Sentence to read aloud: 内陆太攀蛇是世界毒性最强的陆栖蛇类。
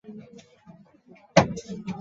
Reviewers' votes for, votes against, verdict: 2, 3, rejected